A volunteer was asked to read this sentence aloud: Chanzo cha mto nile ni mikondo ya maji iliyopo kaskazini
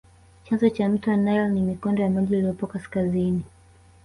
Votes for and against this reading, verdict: 3, 1, accepted